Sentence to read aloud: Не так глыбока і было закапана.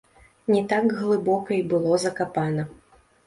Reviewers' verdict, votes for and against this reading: accepted, 2, 0